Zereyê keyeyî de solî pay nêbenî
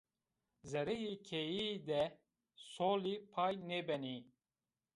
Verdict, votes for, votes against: accepted, 2, 0